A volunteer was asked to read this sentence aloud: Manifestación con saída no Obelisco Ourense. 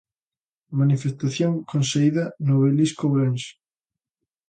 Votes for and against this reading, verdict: 2, 0, accepted